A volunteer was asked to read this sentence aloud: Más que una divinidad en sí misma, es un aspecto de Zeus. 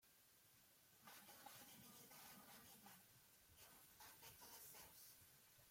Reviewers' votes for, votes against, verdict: 0, 2, rejected